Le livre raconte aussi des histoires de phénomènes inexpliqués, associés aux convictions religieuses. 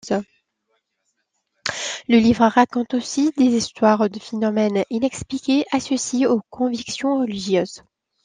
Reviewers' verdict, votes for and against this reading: accepted, 2, 1